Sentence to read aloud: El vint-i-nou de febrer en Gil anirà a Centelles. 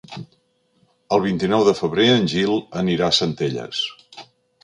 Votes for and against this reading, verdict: 3, 0, accepted